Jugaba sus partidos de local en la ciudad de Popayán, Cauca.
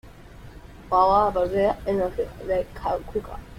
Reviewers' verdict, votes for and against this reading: rejected, 0, 2